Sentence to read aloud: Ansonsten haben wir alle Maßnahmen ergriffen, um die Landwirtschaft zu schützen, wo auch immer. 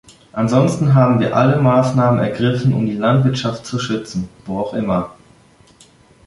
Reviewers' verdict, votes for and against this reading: accepted, 2, 1